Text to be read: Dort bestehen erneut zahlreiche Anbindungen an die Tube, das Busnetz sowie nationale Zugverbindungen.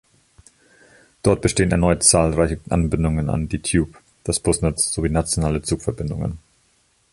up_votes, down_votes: 1, 2